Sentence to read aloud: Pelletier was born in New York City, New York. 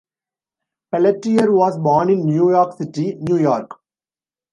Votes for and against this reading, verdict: 2, 0, accepted